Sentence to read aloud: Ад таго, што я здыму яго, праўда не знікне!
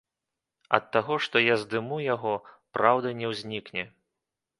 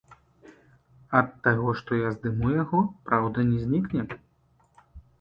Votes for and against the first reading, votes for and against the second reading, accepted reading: 0, 2, 2, 0, second